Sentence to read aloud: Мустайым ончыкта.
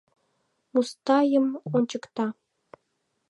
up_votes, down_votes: 2, 1